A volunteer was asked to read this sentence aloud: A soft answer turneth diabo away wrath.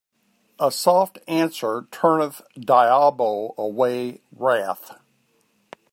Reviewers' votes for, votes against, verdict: 2, 1, accepted